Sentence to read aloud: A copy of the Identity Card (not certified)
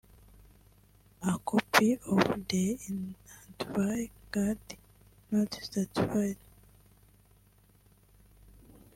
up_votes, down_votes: 0, 2